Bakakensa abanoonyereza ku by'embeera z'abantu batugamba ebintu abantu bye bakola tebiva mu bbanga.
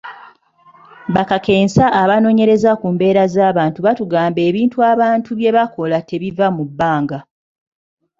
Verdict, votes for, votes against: rejected, 1, 2